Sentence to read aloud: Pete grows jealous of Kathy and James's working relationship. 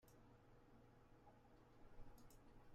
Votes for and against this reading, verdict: 0, 2, rejected